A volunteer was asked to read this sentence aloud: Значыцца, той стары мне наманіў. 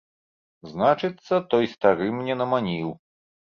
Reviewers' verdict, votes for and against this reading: accepted, 2, 0